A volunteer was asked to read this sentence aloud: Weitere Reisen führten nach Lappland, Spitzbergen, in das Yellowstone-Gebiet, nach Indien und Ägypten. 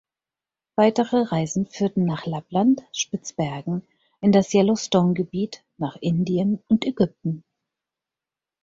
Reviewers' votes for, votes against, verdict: 4, 0, accepted